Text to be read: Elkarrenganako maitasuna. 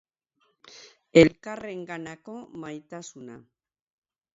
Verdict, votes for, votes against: accepted, 2, 0